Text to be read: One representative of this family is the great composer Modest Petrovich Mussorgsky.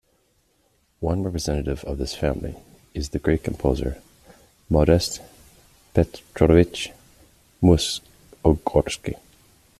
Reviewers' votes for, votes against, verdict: 0, 2, rejected